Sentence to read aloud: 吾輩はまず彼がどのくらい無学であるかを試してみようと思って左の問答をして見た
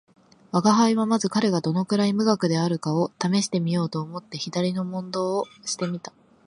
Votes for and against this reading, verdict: 4, 0, accepted